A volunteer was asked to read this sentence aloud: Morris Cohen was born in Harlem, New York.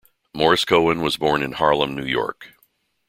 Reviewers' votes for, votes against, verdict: 2, 0, accepted